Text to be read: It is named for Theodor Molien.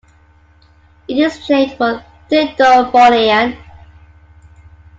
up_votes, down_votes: 1, 2